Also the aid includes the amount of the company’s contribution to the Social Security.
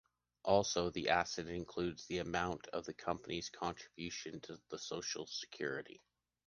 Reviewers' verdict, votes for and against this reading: rejected, 0, 2